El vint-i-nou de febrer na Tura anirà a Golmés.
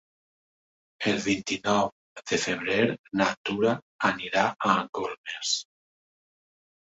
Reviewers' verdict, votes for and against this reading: rejected, 1, 2